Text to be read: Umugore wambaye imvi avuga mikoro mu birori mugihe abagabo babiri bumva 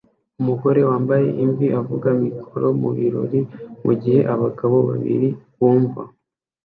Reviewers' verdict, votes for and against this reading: accepted, 2, 0